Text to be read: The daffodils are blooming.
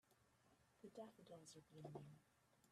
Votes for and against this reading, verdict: 1, 2, rejected